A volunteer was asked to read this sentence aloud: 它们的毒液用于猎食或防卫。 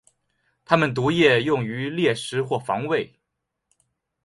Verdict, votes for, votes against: accepted, 2, 1